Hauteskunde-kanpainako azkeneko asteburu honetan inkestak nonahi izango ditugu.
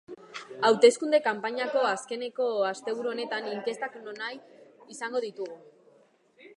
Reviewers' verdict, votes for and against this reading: rejected, 0, 2